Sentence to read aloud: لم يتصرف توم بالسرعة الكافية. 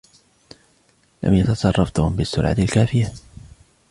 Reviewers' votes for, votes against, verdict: 2, 0, accepted